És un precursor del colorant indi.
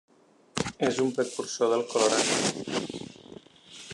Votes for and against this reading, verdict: 0, 2, rejected